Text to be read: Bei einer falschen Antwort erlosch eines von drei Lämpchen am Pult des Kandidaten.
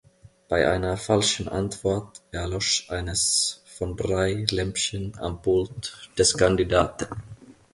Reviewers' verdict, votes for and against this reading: accepted, 2, 0